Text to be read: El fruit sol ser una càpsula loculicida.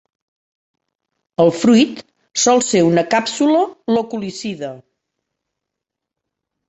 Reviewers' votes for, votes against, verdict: 2, 0, accepted